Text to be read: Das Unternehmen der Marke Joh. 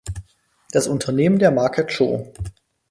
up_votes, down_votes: 2, 4